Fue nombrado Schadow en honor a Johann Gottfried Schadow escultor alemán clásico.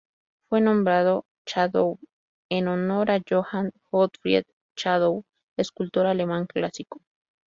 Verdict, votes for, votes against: accepted, 2, 0